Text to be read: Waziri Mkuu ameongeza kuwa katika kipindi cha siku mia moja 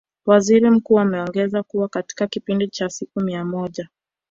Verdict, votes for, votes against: rejected, 0, 2